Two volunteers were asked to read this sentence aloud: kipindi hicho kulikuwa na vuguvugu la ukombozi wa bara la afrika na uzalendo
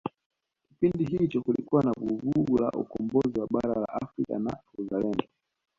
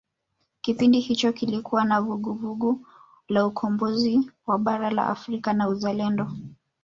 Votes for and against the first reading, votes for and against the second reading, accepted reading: 2, 1, 0, 2, first